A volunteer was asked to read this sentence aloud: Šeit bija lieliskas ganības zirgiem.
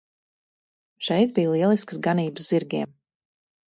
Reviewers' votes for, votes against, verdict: 0, 2, rejected